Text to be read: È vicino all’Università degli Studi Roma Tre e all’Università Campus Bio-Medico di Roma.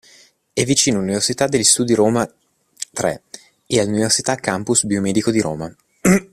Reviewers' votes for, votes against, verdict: 2, 0, accepted